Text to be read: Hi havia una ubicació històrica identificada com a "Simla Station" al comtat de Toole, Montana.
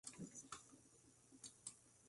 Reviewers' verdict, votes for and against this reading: rejected, 0, 2